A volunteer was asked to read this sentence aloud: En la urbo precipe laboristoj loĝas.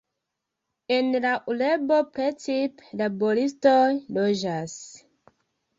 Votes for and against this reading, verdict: 0, 2, rejected